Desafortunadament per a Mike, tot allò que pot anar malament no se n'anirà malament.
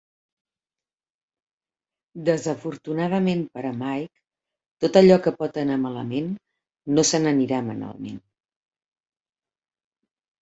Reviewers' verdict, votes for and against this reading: rejected, 0, 2